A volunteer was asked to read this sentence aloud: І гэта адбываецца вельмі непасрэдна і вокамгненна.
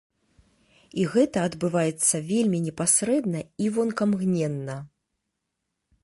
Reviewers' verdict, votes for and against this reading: rejected, 1, 2